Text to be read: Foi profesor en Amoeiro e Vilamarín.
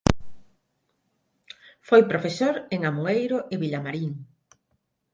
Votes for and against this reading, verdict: 6, 3, accepted